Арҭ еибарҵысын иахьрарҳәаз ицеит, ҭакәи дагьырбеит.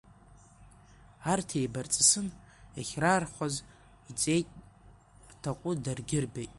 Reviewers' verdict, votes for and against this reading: rejected, 0, 2